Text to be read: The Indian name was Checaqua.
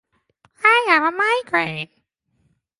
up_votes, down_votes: 0, 2